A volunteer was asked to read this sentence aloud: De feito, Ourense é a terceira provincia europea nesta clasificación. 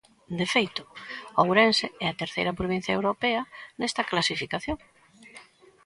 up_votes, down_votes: 2, 0